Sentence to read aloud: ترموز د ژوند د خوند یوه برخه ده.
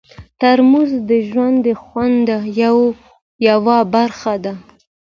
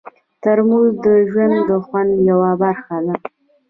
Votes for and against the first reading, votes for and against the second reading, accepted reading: 2, 0, 1, 2, first